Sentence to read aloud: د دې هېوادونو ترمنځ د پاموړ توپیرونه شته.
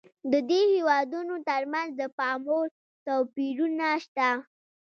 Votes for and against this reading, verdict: 0, 2, rejected